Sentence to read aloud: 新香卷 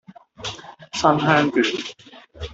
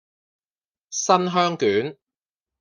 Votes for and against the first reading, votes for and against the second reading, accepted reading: 1, 2, 2, 0, second